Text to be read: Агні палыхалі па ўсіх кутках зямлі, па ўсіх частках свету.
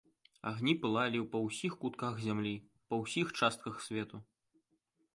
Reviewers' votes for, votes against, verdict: 0, 2, rejected